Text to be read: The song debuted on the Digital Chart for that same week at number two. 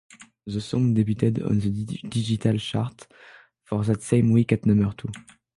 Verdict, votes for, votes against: rejected, 3, 6